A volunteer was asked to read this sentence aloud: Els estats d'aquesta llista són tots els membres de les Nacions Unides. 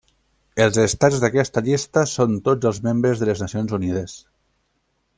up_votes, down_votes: 3, 0